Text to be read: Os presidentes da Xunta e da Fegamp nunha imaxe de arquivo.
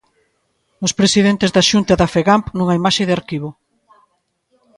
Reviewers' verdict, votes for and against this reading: rejected, 1, 2